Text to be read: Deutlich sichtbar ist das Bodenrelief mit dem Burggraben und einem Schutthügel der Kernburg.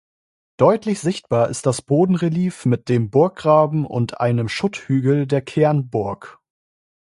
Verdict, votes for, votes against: rejected, 0, 2